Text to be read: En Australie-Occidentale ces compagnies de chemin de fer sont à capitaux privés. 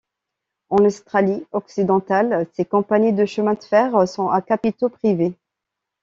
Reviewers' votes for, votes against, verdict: 1, 2, rejected